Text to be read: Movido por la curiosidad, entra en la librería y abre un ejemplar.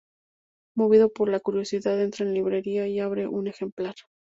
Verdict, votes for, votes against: rejected, 0, 2